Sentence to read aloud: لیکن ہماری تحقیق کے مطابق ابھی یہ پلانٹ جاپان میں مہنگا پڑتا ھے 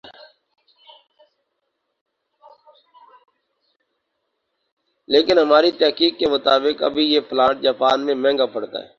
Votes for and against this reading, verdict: 0, 2, rejected